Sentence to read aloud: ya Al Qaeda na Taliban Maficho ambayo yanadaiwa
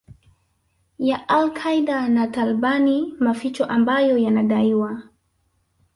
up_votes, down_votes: 0, 2